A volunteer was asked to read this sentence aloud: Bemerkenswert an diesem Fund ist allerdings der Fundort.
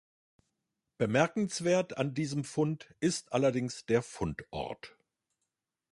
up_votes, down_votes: 2, 0